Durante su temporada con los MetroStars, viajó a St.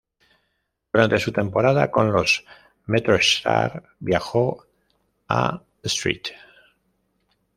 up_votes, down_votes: 1, 2